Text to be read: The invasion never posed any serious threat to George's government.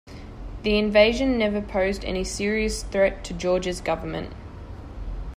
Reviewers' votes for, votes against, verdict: 2, 0, accepted